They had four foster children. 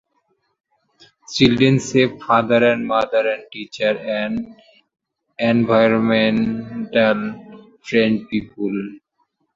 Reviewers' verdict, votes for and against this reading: rejected, 0, 2